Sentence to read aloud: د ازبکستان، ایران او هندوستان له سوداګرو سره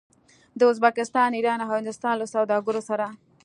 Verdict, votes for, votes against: accepted, 2, 0